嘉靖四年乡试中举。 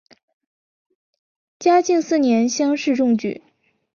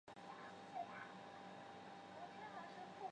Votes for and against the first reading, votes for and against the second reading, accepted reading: 2, 0, 0, 2, first